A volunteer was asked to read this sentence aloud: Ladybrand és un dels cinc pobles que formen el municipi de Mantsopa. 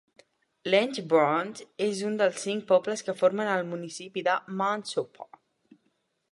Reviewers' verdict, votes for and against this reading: rejected, 1, 2